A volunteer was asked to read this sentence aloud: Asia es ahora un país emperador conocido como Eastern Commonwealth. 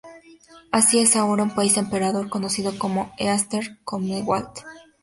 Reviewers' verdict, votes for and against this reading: accepted, 4, 0